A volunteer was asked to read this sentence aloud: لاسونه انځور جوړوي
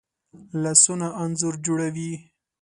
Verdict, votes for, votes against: accepted, 2, 0